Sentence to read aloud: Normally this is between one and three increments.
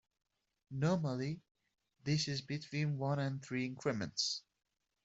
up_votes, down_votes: 2, 0